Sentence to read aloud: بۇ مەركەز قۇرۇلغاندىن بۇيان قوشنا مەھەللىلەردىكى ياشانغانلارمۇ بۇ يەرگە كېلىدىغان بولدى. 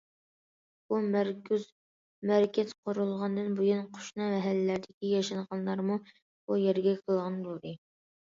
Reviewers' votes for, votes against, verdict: 1, 2, rejected